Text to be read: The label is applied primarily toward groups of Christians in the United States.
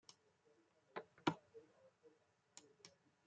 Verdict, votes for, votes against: rejected, 0, 2